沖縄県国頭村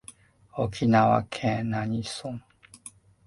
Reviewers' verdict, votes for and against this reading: rejected, 1, 2